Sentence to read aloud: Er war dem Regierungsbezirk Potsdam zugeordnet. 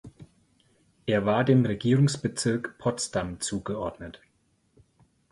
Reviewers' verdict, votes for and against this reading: accepted, 4, 0